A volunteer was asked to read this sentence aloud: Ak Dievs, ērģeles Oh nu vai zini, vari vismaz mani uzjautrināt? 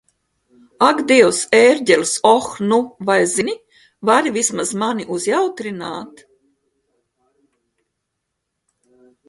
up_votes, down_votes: 2, 0